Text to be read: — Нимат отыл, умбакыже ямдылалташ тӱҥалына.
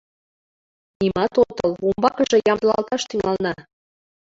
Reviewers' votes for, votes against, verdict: 2, 0, accepted